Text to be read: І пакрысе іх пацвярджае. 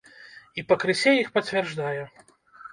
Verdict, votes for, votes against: rejected, 1, 2